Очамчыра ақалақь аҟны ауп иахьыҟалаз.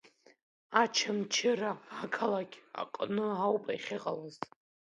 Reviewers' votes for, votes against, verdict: 2, 0, accepted